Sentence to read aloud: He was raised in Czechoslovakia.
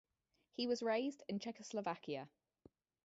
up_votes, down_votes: 0, 2